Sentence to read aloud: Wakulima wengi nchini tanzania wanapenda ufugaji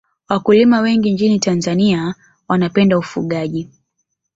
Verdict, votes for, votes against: accepted, 3, 0